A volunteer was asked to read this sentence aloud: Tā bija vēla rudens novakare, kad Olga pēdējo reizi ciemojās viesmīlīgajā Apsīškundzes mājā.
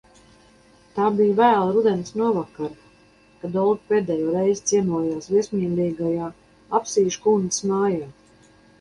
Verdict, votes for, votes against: accepted, 2, 0